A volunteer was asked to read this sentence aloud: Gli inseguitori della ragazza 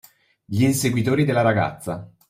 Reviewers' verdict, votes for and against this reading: accepted, 2, 0